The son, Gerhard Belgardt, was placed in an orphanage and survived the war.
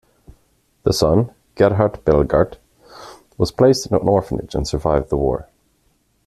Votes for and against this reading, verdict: 2, 1, accepted